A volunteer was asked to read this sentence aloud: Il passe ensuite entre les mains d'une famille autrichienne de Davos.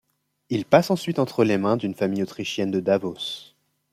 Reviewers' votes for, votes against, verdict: 2, 0, accepted